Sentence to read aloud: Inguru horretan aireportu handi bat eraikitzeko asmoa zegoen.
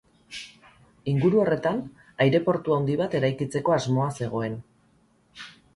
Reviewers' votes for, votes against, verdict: 2, 2, rejected